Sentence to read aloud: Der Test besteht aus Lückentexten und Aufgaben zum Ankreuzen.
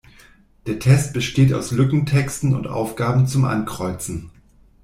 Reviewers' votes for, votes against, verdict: 2, 0, accepted